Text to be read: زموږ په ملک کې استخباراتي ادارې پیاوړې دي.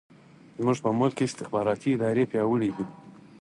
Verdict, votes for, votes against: accepted, 4, 0